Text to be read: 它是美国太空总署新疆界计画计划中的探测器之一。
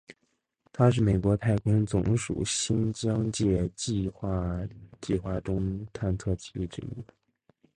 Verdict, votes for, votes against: accepted, 3, 1